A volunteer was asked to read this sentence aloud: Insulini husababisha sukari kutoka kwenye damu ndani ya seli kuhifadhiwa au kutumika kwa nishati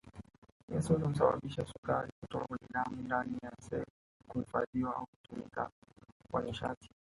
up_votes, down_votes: 0, 2